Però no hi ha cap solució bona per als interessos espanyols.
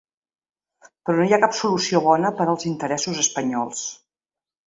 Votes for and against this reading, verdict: 4, 0, accepted